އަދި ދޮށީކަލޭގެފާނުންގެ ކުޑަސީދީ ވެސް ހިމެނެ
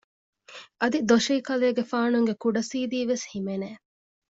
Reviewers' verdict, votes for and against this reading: accepted, 2, 1